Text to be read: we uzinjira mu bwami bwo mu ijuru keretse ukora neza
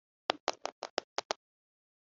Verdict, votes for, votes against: rejected, 0, 2